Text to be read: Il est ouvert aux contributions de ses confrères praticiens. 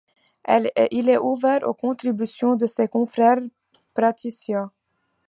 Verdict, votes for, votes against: rejected, 1, 2